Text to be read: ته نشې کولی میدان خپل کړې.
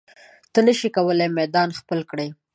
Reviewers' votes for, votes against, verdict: 2, 0, accepted